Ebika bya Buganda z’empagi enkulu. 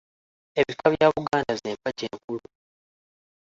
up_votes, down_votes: 0, 2